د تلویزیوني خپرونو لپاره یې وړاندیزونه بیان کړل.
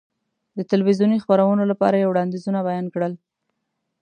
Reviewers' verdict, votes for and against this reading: accepted, 2, 0